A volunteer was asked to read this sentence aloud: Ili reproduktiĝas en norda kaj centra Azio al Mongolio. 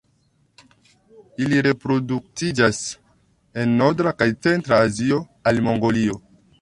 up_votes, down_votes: 1, 2